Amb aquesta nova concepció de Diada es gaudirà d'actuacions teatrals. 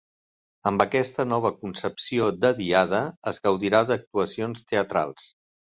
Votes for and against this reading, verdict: 3, 0, accepted